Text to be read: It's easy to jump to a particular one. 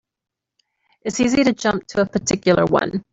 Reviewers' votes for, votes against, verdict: 2, 0, accepted